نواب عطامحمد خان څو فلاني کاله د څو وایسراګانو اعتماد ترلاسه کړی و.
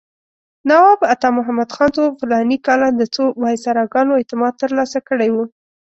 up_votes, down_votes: 2, 0